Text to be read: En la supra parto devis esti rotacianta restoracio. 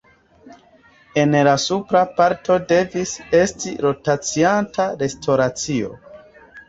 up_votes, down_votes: 2, 0